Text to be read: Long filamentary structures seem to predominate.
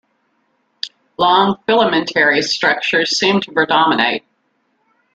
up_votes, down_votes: 2, 0